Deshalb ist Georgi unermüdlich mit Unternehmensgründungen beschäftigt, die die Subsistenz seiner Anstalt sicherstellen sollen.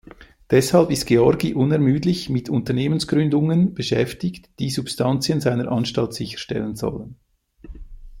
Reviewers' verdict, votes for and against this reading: rejected, 0, 2